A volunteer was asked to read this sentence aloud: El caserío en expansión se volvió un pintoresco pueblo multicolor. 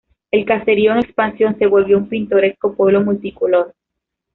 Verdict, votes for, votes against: accepted, 2, 0